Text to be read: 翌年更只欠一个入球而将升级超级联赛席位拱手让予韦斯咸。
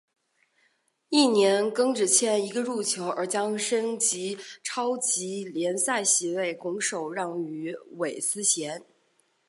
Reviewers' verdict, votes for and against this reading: accepted, 2, 0